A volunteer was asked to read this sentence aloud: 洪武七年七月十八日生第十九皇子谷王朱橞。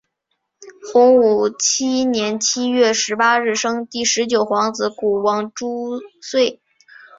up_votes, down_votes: 1, 2